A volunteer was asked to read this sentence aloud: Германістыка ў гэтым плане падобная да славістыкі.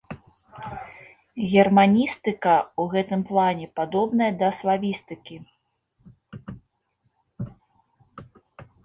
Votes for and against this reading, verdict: 2, 0, accepted